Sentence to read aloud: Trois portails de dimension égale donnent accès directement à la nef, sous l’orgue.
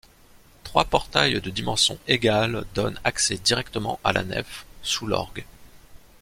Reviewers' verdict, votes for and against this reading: accepted, 2, 0